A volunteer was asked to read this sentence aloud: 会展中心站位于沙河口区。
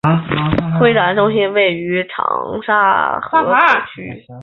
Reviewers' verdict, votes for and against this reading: rejected, 2, 3